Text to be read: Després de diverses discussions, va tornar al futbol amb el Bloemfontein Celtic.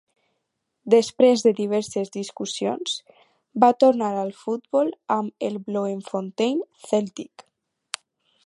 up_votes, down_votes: 4, 0